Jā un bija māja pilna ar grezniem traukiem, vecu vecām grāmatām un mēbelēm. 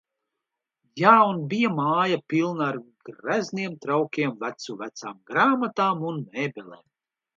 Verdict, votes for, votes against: accepted, 2, 0